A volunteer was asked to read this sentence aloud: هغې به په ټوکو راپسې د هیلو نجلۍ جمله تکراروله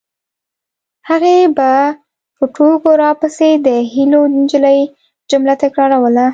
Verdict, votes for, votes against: accepted, 2, 0